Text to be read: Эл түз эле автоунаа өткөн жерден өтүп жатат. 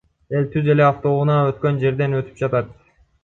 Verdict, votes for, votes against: accepted, 2, 1